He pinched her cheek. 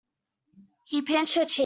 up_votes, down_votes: 1, 2